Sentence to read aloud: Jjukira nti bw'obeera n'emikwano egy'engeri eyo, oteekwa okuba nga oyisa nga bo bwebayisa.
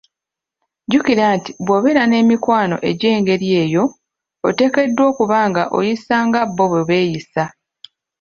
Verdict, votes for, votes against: rejected, 0, 2